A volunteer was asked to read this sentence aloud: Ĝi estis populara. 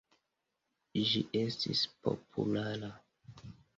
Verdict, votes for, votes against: accepted, 2, 0